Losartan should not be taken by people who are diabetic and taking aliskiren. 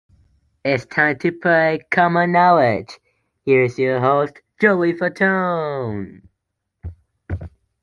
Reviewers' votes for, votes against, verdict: 0, 2, rejected